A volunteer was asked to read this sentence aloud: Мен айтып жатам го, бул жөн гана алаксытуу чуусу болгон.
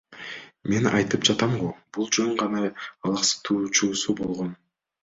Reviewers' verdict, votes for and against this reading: accepted, 2, 0